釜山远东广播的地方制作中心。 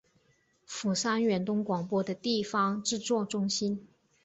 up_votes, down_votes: 4, 1